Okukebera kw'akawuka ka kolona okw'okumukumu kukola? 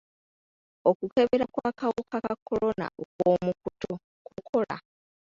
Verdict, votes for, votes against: rejected, 0, 2